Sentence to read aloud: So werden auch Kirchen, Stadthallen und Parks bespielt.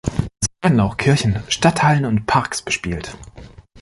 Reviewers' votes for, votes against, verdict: 1, 2, rejected